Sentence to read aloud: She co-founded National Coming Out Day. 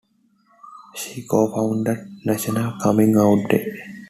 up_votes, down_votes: 2, 0